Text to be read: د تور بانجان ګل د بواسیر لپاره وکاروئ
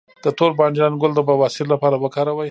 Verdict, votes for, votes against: accepted, 2, 0